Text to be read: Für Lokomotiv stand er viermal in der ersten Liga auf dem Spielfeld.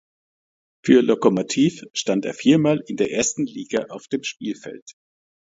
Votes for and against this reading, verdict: 2, 0, accepted